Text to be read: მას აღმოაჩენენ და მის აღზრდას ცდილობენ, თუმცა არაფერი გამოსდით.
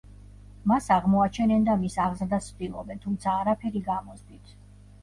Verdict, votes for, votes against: rejected, 0, 2